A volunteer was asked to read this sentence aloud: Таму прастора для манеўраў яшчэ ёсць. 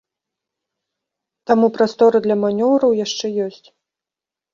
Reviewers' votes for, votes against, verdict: 1, 2, rejected